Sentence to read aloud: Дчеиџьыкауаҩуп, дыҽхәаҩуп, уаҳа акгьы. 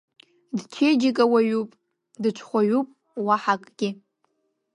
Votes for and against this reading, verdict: 1, 2, rejected